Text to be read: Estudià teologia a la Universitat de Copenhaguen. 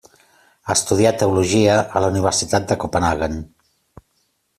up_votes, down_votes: 2, 0